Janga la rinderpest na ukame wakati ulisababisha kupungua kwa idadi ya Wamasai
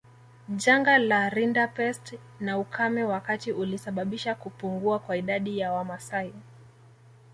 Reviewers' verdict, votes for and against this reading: accepted, 2, 0